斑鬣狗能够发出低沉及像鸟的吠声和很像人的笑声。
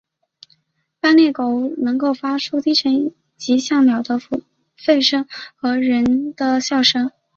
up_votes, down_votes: 3, 1